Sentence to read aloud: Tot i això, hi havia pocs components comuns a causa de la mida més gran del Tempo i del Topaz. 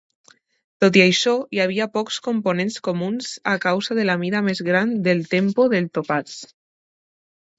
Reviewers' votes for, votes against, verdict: 1, 2, rejected